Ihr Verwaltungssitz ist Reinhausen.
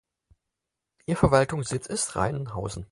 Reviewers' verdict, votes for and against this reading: accepted, 4, 0